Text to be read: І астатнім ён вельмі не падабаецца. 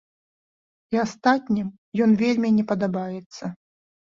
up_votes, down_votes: 2, 0